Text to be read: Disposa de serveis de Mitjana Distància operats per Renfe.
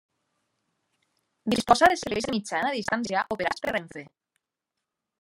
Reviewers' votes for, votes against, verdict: 0, 2, rejected